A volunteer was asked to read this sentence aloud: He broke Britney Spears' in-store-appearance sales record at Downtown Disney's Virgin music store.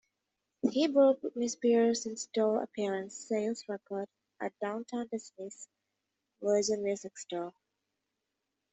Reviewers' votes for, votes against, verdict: 2, 0, accepted